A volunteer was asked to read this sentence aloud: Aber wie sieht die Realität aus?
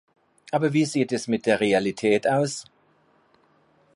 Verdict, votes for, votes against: rejected, 0, 2